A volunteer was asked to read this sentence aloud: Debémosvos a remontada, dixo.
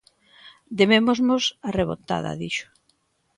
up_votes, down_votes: 0, 2